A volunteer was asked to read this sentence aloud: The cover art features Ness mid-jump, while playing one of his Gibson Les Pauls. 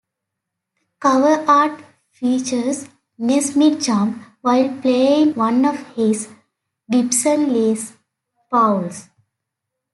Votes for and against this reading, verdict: 2, 1, accepted